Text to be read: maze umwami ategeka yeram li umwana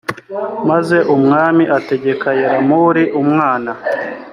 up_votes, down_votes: 2, 0